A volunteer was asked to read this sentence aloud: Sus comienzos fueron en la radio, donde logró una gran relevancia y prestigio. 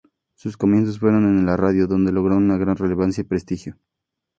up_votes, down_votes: 2, 0